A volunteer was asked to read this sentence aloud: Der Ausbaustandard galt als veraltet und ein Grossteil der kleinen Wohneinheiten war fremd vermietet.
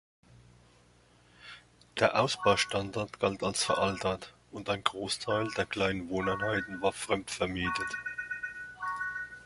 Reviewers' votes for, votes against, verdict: 2, 0, accepted